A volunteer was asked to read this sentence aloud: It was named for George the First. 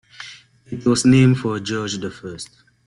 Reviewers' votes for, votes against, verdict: 2, 0, accepted